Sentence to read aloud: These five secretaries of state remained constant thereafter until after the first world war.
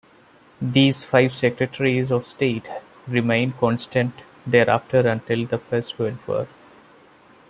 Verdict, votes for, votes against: rejected, 1, 2